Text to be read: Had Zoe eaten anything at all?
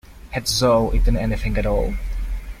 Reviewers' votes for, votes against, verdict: 1, 2, rejected